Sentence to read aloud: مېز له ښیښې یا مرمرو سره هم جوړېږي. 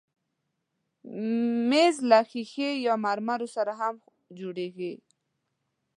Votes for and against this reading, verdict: 0, 2, rejected